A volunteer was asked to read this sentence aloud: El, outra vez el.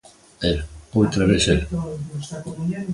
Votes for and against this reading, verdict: 0, 2, rejected